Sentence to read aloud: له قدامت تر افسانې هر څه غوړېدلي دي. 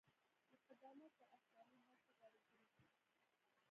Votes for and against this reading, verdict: 0, 2, rejected